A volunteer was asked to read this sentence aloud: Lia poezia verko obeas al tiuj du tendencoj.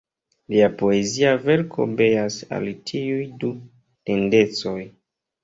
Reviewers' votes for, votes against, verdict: 1, 2, rejected